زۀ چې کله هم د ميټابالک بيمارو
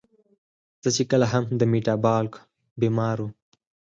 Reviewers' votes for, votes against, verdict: 4, 0, accepted